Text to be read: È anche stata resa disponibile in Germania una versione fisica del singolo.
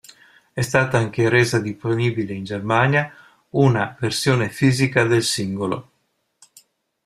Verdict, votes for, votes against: rejected, 0, 2